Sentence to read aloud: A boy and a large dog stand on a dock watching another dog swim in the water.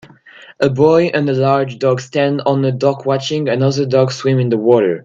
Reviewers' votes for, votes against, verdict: 2, 0, accepted